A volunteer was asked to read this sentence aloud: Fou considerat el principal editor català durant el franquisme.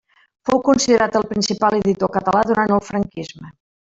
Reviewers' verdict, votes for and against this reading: rejected, 1, 2